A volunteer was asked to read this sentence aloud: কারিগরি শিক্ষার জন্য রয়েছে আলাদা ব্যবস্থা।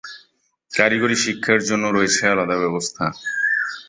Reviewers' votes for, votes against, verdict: 2, 0, accepted